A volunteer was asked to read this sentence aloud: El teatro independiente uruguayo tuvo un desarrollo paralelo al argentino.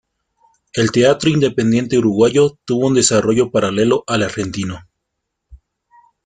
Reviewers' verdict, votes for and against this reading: accepted, 2, 0